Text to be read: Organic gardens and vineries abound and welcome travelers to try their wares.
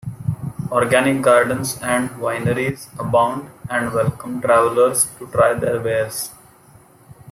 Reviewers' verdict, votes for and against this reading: accepted, 2, 0